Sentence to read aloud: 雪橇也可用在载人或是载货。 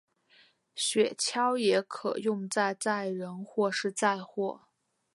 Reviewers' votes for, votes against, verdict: 2, 0, accepted